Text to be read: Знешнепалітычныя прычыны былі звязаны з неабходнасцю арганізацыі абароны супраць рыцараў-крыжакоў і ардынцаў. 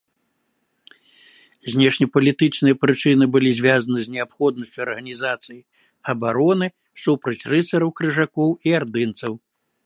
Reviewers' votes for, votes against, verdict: 3, 0, accepted